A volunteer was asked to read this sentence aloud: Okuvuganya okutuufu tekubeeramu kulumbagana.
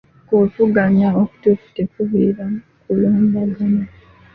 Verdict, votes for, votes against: rejected, 1, 2